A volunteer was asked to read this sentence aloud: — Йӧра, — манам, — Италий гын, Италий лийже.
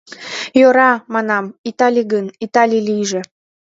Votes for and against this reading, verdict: 2, 0, accepted